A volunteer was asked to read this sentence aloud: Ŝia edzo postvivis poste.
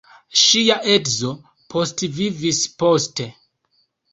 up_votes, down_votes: 2, 0